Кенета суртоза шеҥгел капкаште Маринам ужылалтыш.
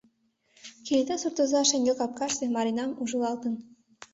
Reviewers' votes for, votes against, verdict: 1, 2, rejected